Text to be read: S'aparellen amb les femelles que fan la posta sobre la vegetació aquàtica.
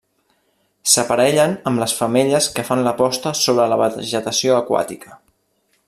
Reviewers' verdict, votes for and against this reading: rejected, 1, 2